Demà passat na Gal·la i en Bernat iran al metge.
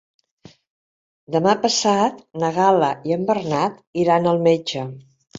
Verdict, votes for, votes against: accepted, 3, 0